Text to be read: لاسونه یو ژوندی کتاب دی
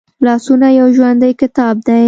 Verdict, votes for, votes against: accepted, 2, 1